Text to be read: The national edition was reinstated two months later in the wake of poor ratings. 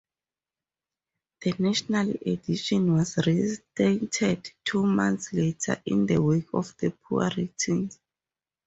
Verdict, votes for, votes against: rejected, 2, 4